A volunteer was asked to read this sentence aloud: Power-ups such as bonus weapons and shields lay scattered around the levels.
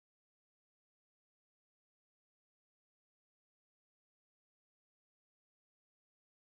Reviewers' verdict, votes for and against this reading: rejected, 0, 2